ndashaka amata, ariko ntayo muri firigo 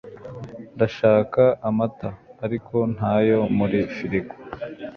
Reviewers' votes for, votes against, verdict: 1, 2, rejected